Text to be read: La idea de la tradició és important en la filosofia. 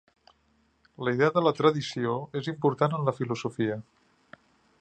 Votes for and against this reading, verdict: 5, 0, accepted